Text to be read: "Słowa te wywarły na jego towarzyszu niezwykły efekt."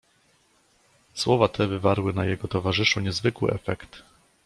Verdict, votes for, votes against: accepted, 2, 0